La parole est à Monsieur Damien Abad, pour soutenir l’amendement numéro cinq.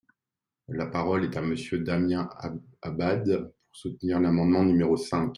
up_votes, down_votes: 0, 2